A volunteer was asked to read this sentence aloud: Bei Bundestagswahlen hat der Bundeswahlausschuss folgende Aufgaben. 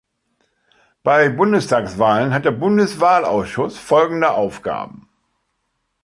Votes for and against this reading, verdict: 2, 0, accepted